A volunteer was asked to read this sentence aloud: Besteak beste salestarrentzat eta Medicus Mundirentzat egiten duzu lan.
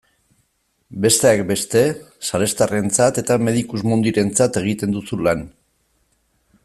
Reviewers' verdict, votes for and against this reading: accepted, 2, 0